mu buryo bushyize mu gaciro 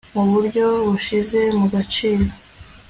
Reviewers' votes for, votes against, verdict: 2, 0, accepted